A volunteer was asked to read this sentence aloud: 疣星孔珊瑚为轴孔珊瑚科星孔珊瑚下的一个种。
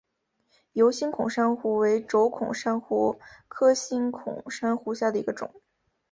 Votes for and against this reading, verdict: 2, 0, accepted